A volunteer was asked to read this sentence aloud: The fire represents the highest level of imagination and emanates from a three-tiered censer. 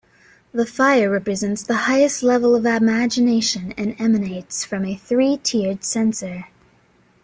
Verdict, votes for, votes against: accepted, 2, 0